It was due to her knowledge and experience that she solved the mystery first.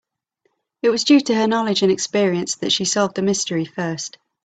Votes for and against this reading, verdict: 3, 0, accepted